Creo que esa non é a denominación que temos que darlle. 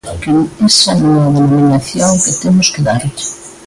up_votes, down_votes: 1, 2